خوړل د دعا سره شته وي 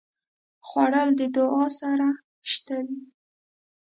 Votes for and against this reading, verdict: 2, 0, accepted